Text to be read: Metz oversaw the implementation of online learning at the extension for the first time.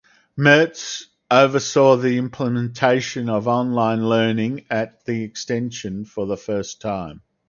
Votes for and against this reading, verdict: 4, 0, accepted